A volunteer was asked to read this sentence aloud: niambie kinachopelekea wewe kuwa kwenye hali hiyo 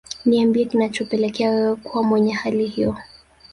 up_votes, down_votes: 1, 2